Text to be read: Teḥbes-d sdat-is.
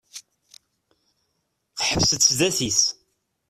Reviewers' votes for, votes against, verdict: 1, 2, rejected